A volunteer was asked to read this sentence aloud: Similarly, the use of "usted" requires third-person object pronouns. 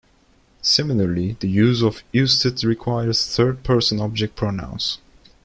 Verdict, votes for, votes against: rejected, 1, 2